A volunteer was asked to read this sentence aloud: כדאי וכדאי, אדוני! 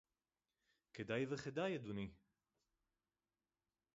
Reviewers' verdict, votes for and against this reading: accepted, 4, 2